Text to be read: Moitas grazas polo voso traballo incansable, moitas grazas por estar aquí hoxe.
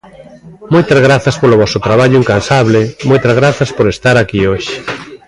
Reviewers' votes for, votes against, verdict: 2, 1, accepted